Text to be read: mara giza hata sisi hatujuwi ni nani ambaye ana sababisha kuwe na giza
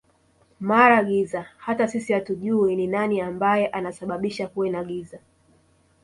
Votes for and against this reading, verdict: 1, 2, rejected